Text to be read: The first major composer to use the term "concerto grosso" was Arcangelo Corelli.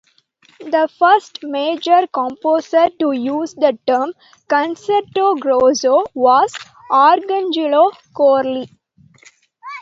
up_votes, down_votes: 2, 0